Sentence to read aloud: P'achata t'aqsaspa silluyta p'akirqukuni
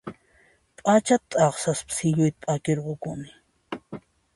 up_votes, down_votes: 2, 0